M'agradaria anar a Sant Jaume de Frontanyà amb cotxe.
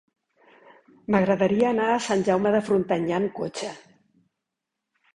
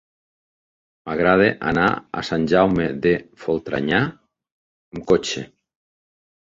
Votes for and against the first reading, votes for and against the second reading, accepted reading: 4, 0, 1, 2, first